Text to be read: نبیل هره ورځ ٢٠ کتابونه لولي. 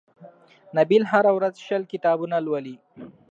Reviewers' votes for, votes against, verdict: 0, 2, rejected